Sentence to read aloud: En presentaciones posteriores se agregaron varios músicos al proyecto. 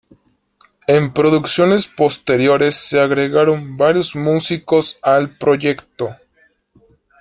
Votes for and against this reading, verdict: 0, 2, rejected